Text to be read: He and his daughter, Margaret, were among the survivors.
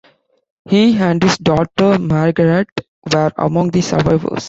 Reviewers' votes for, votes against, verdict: 2, 0, accepted